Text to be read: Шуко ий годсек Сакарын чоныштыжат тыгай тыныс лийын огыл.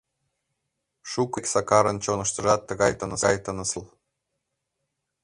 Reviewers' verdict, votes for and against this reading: rejected, 1, 2